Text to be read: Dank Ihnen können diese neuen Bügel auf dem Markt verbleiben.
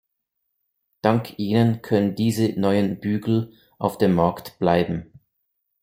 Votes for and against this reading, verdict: 0, 2, rejected